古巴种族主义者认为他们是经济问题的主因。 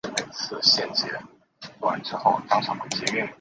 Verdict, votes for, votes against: rejected, 0, 4